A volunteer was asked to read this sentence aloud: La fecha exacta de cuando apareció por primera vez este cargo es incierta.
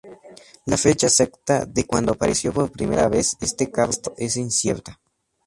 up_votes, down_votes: 2, 0